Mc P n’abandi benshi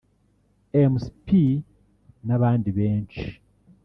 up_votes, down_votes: 2, 0